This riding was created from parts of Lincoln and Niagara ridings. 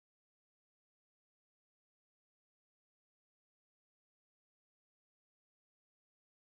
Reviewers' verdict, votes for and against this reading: rejected, 0, 2